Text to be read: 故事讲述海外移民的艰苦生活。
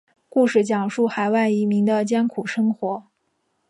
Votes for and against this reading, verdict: 2, 0, accepted